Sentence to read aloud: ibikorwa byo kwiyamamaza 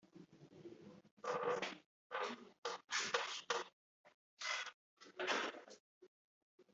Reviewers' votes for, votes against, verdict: 1, 2, rejected